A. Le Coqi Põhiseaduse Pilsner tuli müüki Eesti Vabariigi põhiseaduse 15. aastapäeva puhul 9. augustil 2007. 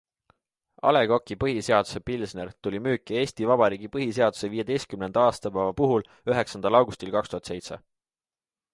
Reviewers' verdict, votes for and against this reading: rejected, 0, 2